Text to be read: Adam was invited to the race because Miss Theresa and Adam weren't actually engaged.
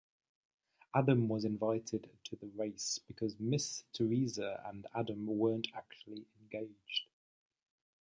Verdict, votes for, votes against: accepted, 2, 0